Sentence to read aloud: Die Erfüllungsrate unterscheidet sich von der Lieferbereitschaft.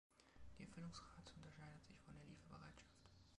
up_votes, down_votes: 1, 2